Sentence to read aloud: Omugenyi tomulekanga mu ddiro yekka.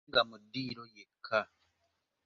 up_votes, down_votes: 0, 2